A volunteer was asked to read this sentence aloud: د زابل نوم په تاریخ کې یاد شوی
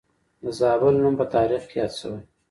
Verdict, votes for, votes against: rejected, 1, 2